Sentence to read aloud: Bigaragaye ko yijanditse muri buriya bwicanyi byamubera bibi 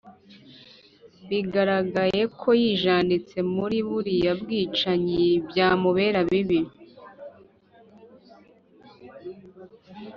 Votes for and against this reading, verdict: 2, 0, accepted